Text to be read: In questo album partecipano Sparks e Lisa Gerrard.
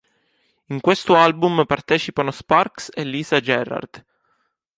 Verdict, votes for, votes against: accepted, 3, 0